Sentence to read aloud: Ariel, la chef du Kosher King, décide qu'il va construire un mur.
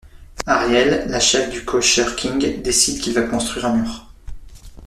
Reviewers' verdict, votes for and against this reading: accepted, 2, 1